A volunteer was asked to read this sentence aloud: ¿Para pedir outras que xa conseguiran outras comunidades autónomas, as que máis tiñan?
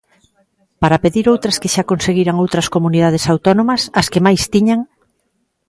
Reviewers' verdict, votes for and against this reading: accepted, 2, 0